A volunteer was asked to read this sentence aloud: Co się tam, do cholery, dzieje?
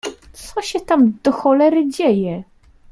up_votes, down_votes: 2, 0